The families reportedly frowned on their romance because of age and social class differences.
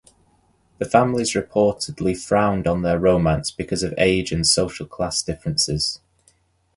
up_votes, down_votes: 2, 0